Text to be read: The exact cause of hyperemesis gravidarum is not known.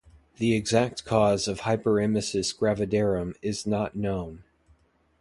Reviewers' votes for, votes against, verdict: 2, 0, accepted